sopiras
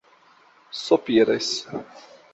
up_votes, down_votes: 0, 2